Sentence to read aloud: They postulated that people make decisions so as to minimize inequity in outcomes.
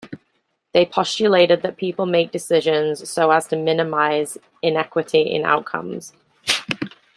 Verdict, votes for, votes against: accepted, 2, 0